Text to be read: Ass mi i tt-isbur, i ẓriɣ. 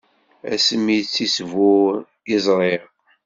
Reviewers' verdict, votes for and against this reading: accepted, 2, 0